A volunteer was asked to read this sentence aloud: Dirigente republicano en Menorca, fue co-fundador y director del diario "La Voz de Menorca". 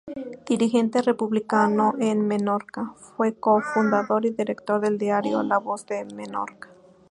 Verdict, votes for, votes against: accepted, 2, 0